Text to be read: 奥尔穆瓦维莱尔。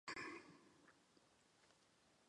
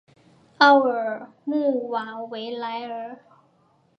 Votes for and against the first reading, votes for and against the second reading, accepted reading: 0, 3, 2, 0, second